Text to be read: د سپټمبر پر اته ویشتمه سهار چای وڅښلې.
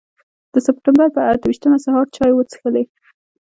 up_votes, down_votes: 3, 0